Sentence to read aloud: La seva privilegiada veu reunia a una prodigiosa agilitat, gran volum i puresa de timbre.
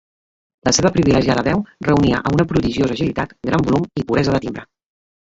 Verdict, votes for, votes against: rejected, 1, 2